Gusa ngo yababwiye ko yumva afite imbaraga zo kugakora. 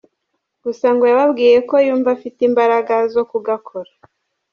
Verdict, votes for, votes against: rejected, 0, 2